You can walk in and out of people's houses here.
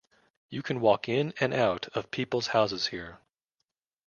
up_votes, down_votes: 2, 0